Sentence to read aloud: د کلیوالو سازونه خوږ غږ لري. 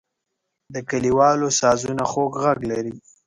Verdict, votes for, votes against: accepted, 2, 0